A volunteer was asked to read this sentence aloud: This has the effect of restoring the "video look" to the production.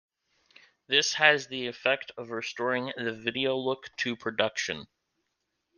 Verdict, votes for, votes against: rejected, 0, 2